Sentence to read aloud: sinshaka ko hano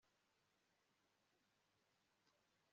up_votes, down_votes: 1, 2